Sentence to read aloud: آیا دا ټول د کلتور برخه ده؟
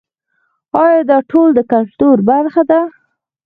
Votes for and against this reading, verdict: 2, 4, rejected